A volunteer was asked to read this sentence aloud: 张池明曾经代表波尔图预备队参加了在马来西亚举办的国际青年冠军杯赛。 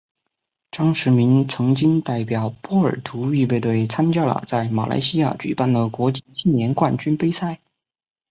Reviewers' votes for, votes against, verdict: 4, 0, accepted